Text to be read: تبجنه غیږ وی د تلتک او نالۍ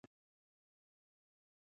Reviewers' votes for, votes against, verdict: 0, 3, rejected